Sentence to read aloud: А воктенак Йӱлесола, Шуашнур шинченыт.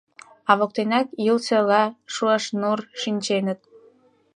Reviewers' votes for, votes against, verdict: 0, 2, rejected